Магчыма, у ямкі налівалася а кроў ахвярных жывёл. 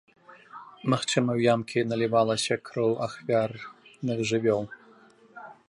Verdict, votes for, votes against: rejected, 1, 2